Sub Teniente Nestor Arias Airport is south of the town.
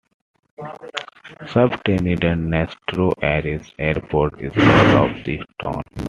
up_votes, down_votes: 1, 2